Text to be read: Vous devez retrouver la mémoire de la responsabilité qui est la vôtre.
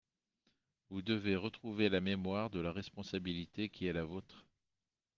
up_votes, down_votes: 3, 0